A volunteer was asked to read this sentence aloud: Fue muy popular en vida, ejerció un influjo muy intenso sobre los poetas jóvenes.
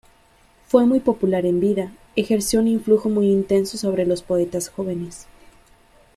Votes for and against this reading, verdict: 2, 0, accepted